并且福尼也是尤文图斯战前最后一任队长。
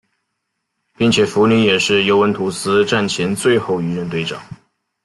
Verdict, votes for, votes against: accepted, 2, 0